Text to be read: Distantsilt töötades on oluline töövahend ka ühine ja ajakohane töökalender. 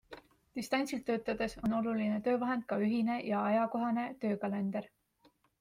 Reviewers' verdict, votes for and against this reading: accepted, 3, 0